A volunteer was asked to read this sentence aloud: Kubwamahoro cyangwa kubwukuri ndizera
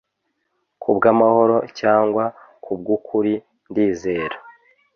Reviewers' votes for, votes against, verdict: 2, 0, accepted